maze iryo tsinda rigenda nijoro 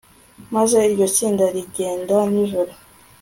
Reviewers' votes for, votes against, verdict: 2, 0, accepted